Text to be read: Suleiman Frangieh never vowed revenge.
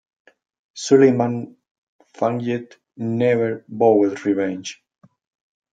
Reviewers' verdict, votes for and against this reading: rejected, 0, 2